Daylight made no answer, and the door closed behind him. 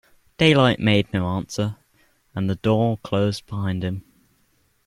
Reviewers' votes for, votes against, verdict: 2, 0, accepted